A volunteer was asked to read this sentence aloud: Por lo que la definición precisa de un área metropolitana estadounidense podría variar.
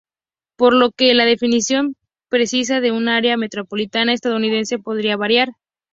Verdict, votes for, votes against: accepted, 2, 0